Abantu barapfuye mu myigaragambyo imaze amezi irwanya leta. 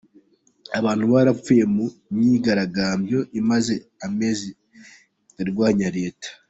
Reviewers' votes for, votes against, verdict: 2, 1, accepted